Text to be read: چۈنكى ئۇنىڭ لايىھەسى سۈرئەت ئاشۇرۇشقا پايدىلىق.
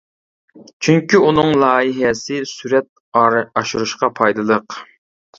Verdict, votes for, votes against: rejected, 0, 2